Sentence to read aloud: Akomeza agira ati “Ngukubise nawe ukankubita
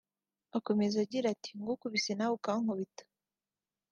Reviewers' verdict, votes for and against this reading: accepted, 3, 0